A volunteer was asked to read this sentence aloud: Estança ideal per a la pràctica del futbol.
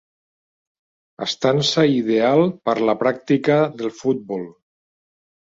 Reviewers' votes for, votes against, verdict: 0, 2, rejected